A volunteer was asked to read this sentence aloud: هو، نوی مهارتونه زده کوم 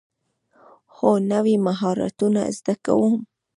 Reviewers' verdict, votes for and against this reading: rejected, 1, 2